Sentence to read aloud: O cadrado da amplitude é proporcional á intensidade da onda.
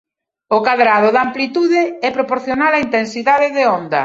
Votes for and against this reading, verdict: 0, 2, rejected